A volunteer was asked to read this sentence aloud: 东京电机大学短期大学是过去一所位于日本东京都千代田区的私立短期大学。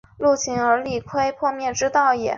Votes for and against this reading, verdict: 1, 3, rejected